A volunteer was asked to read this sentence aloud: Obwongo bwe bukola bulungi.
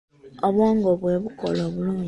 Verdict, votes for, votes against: rejected, 0, 2